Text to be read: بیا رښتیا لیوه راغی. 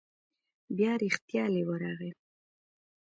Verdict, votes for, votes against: rejected, 1, 2